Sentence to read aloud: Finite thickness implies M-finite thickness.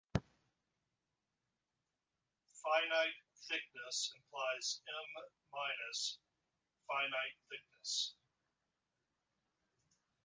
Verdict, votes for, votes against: rejected, 0, 2